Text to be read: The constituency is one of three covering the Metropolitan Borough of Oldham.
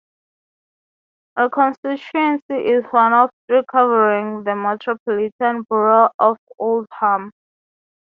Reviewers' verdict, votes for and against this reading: rejected, 0, 3